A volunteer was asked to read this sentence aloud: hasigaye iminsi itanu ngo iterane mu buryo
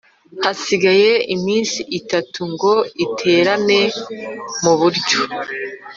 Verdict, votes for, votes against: rejected, 1, 2